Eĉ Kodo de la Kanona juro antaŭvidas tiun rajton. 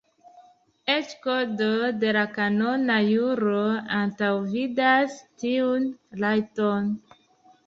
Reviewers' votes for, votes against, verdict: 1, 2, rejected